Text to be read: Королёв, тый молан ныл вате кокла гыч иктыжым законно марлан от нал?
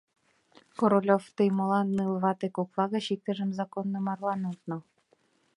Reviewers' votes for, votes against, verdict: 2, 0, accepted